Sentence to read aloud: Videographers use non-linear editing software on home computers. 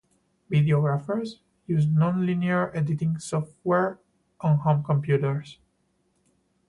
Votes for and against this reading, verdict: 2, 0, accepted